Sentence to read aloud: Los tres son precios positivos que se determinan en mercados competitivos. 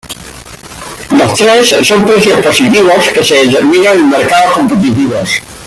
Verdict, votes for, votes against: accepted, 2, 1